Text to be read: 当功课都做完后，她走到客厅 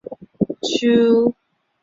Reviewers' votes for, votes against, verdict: 0, 2, rejected